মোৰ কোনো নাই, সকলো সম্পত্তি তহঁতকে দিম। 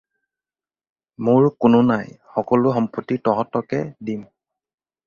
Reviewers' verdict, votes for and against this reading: accepted, 4, 0